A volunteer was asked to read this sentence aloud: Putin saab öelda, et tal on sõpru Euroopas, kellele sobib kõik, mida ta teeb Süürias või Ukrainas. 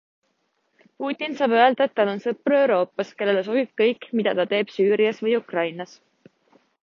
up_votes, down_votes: 2, 0